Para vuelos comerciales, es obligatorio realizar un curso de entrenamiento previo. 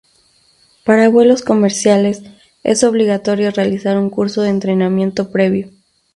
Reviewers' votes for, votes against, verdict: 2, 0, accepted